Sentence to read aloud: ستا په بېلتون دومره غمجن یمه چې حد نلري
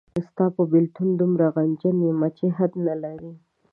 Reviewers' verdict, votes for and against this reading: accepted, 2, 0